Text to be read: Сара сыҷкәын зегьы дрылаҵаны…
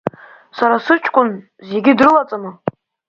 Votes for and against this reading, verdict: 4, 0, accepted